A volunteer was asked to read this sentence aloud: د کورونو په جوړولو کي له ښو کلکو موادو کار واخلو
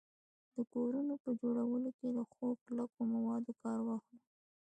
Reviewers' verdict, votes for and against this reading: accepted, 2, 0